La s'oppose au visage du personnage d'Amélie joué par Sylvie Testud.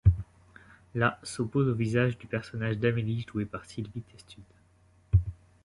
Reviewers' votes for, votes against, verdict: 2, 1, accepted